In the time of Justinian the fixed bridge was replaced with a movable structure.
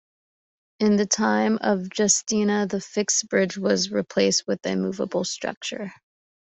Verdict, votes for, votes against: accepted, 2, 0